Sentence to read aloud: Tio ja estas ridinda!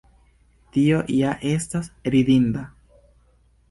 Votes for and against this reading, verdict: 2, 0, accepted